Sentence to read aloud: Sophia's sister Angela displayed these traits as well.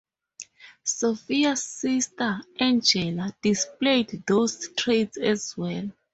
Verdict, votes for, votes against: rejected, 0, 4